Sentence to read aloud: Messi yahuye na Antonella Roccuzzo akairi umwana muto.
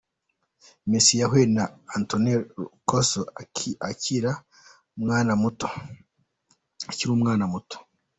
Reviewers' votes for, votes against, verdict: 0, 2, rejected